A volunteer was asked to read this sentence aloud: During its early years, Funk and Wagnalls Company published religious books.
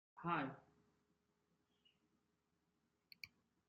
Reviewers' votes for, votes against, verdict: 0, 2, rejected